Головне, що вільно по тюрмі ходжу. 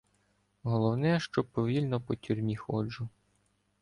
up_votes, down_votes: 1, 2